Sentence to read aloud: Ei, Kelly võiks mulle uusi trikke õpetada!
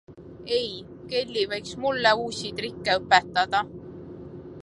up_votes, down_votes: 2, 0